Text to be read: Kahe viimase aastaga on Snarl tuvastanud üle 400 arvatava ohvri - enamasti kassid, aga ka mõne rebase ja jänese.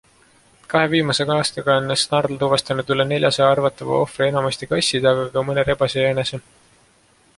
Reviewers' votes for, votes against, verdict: 0, 2, rejected